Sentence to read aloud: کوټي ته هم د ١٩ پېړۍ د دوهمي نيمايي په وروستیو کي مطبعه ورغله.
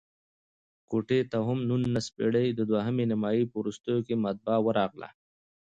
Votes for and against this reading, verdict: 0, 2, rejected